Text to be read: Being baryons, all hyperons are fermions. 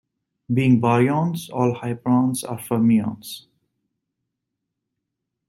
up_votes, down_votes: 1, 2